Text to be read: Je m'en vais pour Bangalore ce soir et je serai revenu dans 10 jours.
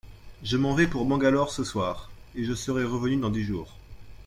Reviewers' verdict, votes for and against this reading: rejected, 0, 2